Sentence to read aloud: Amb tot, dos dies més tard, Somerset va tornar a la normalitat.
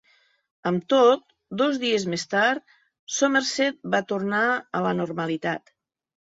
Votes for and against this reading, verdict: 3, 0, accepted